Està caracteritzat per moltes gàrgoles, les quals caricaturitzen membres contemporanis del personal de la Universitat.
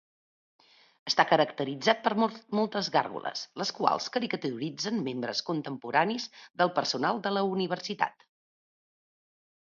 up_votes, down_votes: 1, 2